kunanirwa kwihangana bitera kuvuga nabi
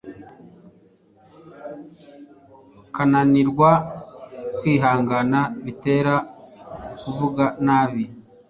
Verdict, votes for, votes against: rejected, 1, 2